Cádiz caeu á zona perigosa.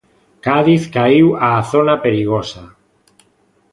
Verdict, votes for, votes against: rejected, 1, 2